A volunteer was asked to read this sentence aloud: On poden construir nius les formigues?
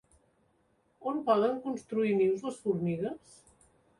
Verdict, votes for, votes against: rejected, 0, 2